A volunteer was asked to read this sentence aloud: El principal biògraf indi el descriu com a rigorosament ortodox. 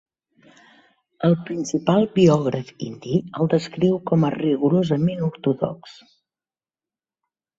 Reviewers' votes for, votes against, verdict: 6, 0, accepted